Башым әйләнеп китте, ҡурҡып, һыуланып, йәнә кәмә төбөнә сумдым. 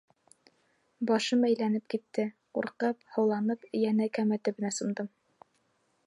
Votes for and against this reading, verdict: 3, 0, accepted